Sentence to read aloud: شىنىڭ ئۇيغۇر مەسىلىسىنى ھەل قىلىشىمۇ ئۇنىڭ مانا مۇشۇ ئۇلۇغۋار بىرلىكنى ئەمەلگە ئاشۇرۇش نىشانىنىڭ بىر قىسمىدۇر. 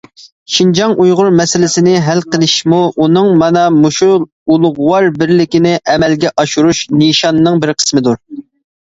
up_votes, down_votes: 0, 2